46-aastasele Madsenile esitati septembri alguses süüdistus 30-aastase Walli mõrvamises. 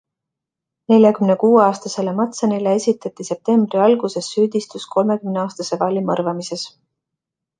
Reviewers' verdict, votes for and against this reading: rejected, 0, 2